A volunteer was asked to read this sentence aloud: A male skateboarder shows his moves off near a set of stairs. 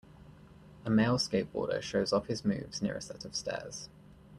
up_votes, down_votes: 0, 2